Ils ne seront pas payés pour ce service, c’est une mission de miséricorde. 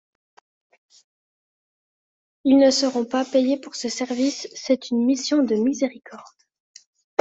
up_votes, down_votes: 2, 0